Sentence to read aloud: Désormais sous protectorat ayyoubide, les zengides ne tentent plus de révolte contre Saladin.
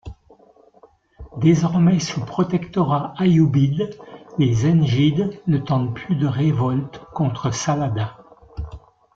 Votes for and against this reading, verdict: 2, 0, accepted